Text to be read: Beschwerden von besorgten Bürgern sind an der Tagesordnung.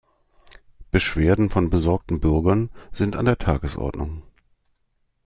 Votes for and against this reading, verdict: 2, 0, accepted